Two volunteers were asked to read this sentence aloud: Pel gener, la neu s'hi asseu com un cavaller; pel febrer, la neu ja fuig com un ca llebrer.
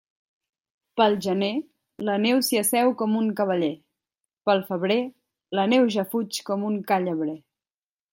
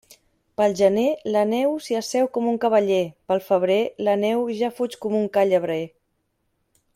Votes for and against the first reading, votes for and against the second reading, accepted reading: 1, 2, 2, 0, second